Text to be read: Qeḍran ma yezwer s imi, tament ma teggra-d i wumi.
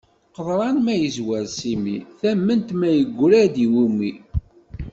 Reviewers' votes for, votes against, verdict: 0, 2, rejected